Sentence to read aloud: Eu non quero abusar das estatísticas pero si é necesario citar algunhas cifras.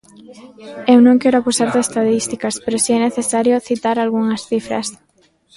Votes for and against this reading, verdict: 0, 2, rejected